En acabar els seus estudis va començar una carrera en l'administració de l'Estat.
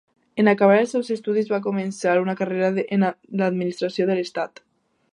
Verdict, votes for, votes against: rejected, 0, 2